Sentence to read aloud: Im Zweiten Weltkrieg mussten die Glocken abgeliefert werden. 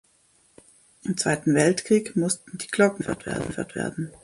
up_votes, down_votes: 0, 2